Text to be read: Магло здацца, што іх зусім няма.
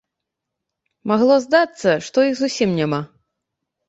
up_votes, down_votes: 2, 0